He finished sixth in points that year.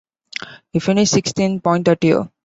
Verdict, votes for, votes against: rejected, 0, 3